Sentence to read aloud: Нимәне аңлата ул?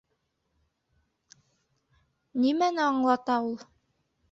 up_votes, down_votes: 2, 0